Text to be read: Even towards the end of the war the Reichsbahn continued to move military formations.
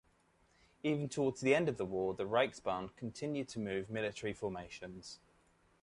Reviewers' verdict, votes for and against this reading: accepted, 2, 0